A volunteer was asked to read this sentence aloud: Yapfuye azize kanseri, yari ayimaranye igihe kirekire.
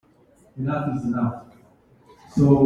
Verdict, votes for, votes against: rejected, 0, 2